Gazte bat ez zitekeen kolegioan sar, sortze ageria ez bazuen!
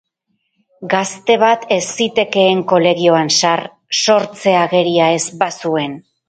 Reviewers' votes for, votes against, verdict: 0, 2, rejected